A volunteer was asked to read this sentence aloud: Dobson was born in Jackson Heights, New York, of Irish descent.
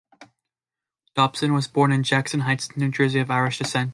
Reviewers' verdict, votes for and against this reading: rejected, 0, 2